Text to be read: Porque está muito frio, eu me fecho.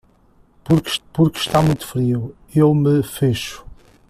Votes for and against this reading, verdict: 0, 2, rejected